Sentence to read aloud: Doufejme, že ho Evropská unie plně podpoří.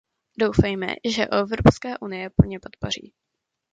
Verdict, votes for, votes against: rejected, 0, 2